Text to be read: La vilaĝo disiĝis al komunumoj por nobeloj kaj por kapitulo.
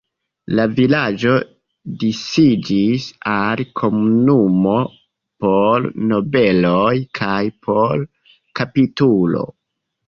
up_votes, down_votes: 1, 2